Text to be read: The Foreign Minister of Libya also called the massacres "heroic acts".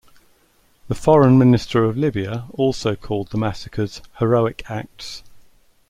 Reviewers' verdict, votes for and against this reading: accepted, 2, 0